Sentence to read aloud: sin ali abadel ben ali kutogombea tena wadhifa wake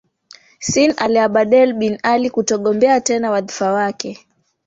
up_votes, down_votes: 0, 2